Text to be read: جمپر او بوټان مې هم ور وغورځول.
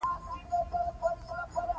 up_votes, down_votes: 1, 2